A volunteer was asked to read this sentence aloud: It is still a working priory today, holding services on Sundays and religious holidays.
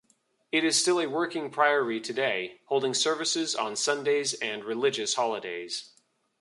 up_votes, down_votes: 2, 0